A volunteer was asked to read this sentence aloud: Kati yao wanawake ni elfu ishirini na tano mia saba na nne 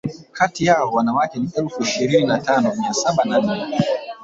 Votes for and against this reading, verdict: 1, 2, rejected